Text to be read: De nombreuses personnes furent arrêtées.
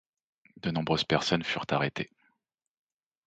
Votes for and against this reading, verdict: 2, 0, accepted